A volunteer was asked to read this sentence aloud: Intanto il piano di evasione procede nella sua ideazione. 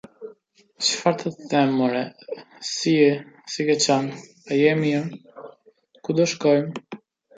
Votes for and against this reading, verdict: 0, 2, rejected